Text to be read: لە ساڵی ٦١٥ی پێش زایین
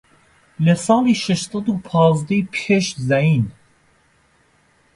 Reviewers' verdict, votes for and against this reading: rejected, 0, 2